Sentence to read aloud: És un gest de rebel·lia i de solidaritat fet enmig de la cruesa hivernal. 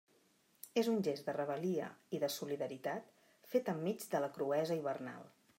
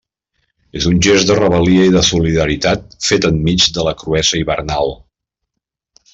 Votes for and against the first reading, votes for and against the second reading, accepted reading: 2, 1, 1, 2, first